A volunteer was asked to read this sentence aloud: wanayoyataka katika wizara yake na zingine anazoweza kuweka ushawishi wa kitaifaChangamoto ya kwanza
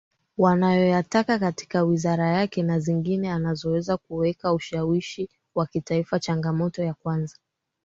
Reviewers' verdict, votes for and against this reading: accepted, 2, 1